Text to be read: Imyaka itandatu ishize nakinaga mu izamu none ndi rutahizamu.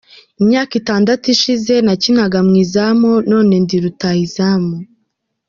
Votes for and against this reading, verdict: 2, 1, accepted